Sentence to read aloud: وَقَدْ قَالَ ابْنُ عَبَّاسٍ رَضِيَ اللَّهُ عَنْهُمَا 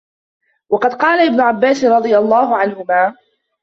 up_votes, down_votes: 0, 2